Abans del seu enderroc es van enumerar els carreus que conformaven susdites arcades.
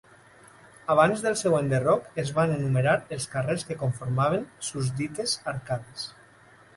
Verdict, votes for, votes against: rejected, 1, 2